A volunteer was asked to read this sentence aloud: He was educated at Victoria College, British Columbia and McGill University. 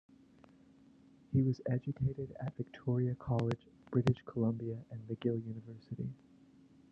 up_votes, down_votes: 0, 2